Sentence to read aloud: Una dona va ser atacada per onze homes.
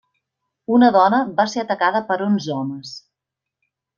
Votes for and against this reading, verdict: 1, 2, rejected